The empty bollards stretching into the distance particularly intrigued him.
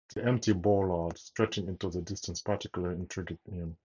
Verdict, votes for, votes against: accepted, 4, 0